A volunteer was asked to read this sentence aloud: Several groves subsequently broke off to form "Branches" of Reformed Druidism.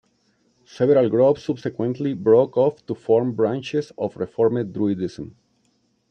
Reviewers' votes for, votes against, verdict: 1, 2, rejected